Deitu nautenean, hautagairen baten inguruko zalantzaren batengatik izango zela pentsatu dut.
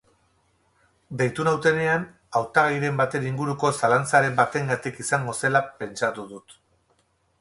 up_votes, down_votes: 2, 2